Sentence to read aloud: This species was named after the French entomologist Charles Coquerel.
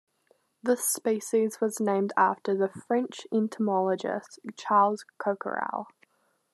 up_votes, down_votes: 2, 0